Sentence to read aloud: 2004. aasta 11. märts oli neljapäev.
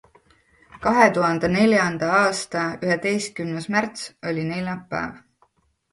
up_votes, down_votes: 0, 2